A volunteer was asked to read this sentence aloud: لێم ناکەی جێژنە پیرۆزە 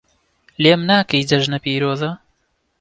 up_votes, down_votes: 1, 2